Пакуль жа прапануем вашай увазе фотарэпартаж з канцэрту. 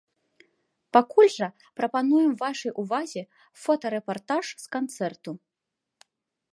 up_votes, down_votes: 2, 0